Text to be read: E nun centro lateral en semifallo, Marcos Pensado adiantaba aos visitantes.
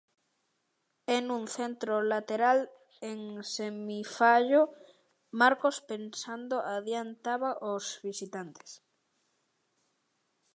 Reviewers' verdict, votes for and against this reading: rejected, 0, 2